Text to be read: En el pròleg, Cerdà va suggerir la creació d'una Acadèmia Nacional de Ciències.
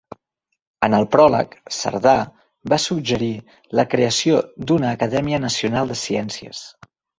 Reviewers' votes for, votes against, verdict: 2, 0, accepted